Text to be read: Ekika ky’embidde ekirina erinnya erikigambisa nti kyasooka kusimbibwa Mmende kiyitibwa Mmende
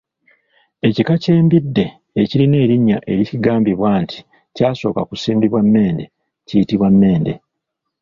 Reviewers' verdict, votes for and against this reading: rejected, 1, 2